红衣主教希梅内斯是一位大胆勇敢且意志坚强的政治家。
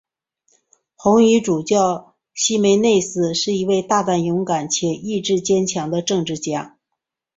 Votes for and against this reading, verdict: 2, 0, accepted